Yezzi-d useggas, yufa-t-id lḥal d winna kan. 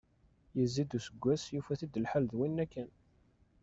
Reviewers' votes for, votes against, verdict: 1, 2, rejected